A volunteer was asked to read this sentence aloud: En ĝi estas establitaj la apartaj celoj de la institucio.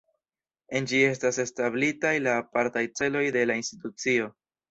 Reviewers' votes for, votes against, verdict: 2, 0, accepted